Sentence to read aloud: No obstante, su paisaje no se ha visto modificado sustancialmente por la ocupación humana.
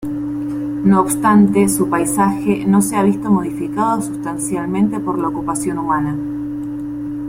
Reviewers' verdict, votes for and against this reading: accepted, 3, 1